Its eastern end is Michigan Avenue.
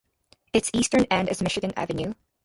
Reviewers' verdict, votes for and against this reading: rejected, 0, 2